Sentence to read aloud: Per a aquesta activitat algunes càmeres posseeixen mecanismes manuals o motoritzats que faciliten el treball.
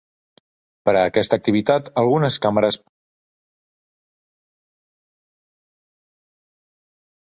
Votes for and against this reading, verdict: 0, 2, rejected